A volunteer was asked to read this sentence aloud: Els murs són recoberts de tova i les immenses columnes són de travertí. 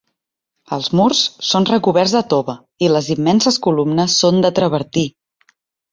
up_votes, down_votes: 3, 0